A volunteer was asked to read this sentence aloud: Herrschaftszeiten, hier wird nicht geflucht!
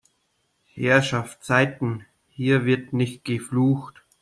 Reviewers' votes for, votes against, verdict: 2, 0, accepted